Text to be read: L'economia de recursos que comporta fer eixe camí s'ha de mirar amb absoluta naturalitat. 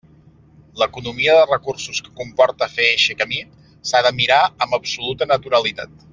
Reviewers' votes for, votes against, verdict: 3, 0, accepted